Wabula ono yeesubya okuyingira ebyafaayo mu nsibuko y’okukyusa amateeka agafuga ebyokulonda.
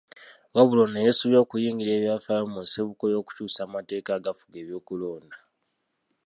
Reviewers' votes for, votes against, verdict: 2, 0, accepted